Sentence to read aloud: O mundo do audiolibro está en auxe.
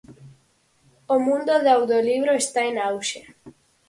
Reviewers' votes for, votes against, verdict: 2, 4, rejected